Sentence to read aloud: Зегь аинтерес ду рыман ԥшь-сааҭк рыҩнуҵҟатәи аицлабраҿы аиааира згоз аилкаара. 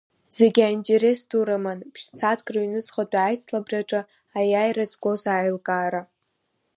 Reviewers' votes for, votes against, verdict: 2, 0, accepted